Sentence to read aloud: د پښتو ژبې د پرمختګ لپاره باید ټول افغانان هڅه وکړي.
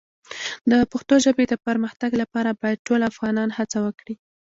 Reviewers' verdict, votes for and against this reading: accepted, 2, 0